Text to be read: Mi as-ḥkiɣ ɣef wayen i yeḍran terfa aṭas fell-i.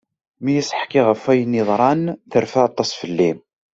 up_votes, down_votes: 2, 0